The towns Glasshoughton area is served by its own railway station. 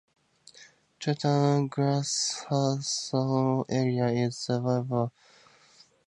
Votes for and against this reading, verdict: 0, 2, rejected